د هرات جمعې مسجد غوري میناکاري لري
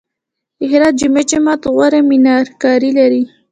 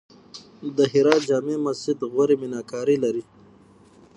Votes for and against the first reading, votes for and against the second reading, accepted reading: 1, 2, 6, 0, second